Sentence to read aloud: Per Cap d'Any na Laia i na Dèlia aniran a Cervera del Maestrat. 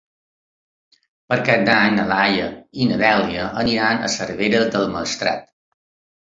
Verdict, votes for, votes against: rejected, 0, 2